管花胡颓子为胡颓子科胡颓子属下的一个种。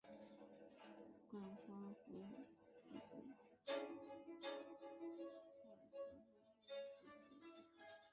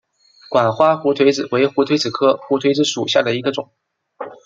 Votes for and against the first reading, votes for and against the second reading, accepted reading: 0, 2, 2, 1, second